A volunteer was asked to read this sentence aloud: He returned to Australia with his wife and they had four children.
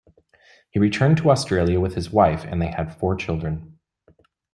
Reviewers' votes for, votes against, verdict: 2, 0, accepted